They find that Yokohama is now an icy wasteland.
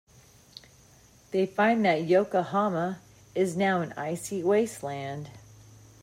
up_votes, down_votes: 2, 0